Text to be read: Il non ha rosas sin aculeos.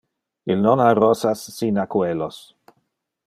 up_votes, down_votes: 0, 2